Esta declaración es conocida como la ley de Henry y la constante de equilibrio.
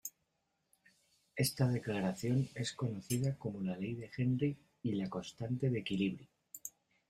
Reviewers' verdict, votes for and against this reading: accepted, 2, 0